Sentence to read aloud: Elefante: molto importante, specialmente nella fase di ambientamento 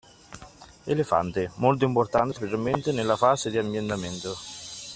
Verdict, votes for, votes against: accepted, 2, 1